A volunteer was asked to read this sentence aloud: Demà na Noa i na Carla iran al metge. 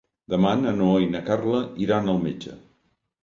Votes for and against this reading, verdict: 3, 0, accepted